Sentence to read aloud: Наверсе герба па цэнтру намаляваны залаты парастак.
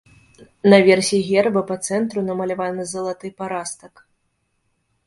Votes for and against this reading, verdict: 0, 2, rejected